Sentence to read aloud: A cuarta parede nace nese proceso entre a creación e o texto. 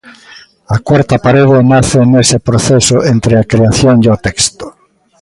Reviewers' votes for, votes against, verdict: 1, 4, rejected